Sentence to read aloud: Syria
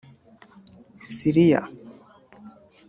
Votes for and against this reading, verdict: 1, 2, rejected